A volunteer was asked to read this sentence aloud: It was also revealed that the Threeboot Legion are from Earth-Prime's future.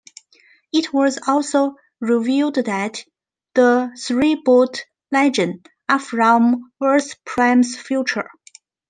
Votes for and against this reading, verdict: 2, 0, accepted